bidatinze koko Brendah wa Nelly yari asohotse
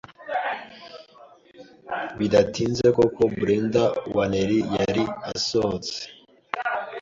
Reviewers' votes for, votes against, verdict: 2, 0, accepted